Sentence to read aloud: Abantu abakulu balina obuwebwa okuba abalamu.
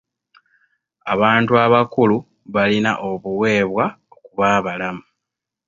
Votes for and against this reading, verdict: 2, 0, accepted